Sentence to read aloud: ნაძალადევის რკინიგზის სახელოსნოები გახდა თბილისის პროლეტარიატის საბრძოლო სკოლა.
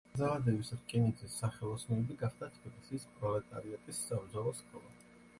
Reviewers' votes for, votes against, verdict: 0, 2, rejected